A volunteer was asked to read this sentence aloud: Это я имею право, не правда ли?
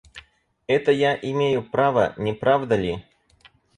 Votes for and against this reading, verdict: 4, 0, accepted